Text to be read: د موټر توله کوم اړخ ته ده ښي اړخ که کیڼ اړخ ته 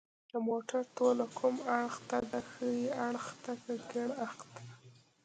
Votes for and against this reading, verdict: 2, 0, accepted